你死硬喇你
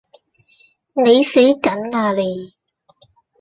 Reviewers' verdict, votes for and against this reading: rejected, 0, 2